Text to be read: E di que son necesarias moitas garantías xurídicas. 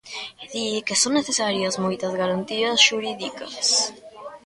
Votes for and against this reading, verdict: 1, 2, rejected